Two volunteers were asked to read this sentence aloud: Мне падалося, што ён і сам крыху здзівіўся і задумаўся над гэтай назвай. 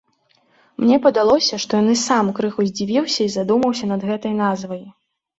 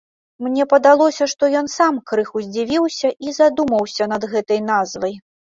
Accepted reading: first